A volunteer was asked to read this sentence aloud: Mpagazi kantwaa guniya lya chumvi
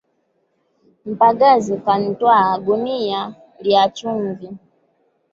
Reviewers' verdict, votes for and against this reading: rejected, 2, 3